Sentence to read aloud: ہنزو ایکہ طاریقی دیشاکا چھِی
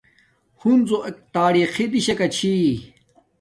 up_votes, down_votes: 1, 2